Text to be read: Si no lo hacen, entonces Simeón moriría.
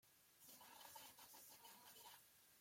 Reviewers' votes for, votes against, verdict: 0, 2, rejected